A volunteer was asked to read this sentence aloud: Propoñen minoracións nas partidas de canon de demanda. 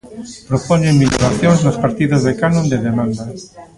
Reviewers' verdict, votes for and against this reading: rejected, 1, 2